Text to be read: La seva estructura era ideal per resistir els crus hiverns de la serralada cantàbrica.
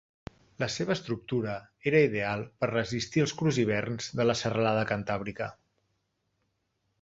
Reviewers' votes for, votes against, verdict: 2, 0, accepted